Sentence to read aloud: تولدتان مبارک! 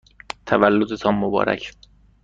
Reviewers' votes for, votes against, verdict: 2, 0, accepted